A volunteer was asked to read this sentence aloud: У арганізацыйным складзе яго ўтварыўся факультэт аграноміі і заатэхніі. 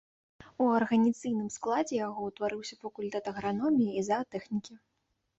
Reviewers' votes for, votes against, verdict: 1, 2, rejected